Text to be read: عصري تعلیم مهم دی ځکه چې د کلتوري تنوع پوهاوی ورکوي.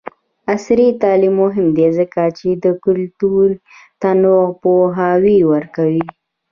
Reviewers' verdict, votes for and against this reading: rejected, 1, 2